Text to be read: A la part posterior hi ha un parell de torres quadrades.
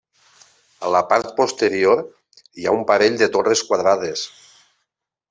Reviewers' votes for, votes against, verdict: 2, 0, accepted